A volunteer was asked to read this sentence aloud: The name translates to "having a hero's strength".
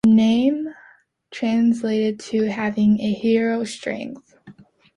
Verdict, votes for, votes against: rejected, 0, 2